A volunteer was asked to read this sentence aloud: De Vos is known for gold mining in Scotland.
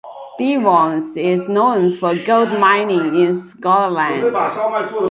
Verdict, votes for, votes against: accepted, 2, 0